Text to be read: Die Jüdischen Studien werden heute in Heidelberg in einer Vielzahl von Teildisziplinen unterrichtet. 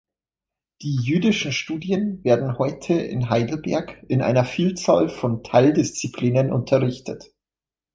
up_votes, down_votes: 2, 0